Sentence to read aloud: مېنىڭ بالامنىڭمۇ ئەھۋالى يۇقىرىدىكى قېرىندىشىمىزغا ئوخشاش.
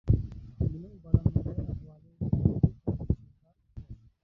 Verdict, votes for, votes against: rejected, 0, 2